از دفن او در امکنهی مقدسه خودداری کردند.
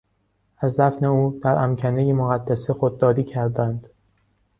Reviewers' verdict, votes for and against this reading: accepted, 2, 0